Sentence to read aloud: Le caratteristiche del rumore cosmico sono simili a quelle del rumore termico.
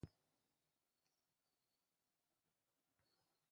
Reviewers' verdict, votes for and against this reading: rejected, 0, 2